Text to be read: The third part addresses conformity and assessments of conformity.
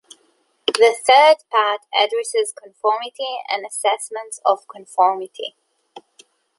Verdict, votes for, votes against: accepted, 2, 0